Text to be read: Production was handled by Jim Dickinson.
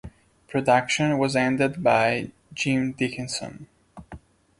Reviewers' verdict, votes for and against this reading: accepted, 2, 0